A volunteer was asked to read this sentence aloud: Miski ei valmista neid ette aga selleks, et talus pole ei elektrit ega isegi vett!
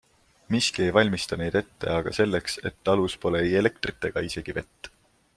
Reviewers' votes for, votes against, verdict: 2, 0, accepted